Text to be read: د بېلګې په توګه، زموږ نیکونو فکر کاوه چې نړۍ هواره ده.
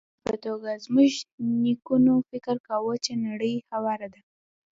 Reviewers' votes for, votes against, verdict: 2, 0, accepted